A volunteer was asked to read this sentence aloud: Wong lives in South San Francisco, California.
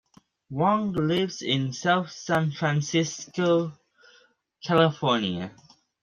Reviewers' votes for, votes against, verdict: 2, 0, accepted